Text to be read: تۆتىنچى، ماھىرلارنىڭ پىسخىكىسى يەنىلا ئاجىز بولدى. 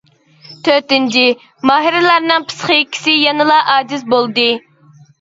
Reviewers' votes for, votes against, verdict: 2, 0, accepted